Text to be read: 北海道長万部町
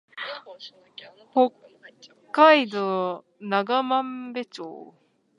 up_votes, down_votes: 2, 1